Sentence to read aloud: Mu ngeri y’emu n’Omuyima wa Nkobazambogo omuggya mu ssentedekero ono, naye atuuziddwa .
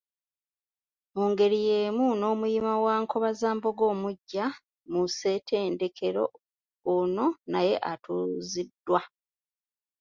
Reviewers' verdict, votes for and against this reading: accepted, 2, 1